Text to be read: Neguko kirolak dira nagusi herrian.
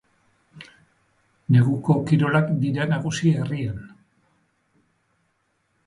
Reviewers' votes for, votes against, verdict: 2, 0, accepted